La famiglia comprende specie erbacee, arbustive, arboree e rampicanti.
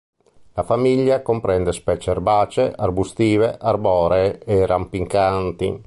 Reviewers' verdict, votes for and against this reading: rejected, 1, 2